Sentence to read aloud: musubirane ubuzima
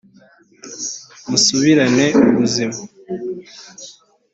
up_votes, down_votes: 2, 0